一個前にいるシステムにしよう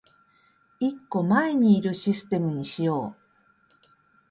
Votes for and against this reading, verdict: 2, 0, accepted